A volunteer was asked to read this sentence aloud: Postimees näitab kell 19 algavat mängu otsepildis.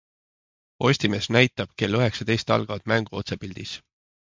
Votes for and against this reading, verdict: 0, 2, rejected